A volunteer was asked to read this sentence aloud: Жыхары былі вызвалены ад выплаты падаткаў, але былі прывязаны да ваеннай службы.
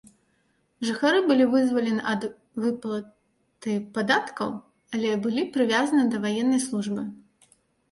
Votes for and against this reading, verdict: 1, 2, rejected